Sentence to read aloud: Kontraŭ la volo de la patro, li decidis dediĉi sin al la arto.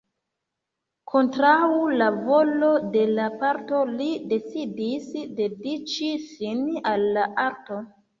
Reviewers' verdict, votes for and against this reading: rejected, 1, 2